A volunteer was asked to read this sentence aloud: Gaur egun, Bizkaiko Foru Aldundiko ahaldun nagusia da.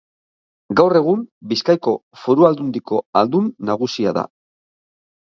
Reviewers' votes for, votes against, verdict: 2, 0, accepted